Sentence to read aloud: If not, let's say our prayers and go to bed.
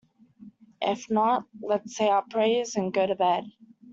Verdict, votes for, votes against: accepted, 2, 0